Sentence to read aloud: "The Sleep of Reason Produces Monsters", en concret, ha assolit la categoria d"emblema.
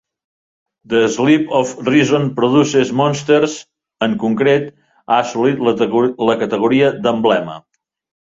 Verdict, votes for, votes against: rejected, 1, 2